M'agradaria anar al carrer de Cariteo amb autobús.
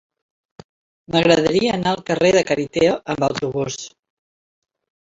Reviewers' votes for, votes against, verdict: 2, 0, accepted